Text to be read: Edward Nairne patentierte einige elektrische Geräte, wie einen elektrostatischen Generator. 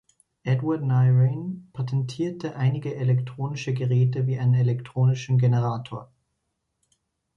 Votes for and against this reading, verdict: 0, 2, rejected